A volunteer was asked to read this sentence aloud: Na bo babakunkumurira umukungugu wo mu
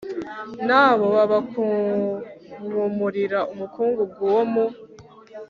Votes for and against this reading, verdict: 3, 0, accepted